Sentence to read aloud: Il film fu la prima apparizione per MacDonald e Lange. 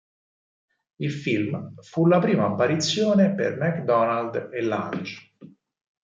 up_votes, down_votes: 4, 0